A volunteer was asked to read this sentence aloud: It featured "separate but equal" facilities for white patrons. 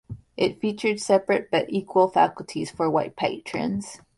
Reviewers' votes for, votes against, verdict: 0, 2, rejected